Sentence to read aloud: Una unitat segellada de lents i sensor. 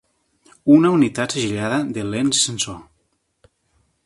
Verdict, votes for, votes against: rejected, 1, 2